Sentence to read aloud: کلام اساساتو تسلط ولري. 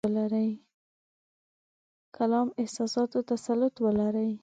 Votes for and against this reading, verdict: 1, 2, rejected